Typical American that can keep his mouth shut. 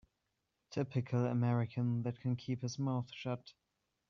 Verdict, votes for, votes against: accepted, 2, 0